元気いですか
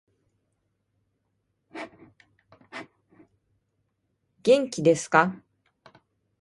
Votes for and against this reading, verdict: 1, 2, rejected